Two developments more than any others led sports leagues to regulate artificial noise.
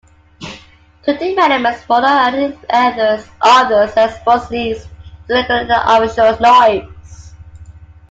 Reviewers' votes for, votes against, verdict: 0, 2, rejected